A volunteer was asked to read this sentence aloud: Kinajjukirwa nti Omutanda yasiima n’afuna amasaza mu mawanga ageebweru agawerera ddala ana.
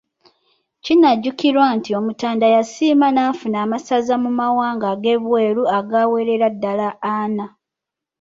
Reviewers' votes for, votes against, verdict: 2, 0, accepted